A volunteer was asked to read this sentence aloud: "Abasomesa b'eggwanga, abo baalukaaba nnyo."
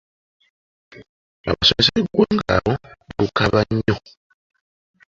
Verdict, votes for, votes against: rejected, 1, 2